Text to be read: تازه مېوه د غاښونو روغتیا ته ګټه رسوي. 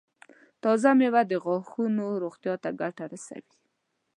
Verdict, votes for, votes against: accepted, 2, 0